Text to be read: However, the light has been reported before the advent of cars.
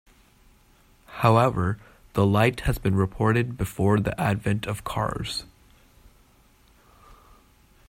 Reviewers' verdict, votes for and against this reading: accepted, 2, 0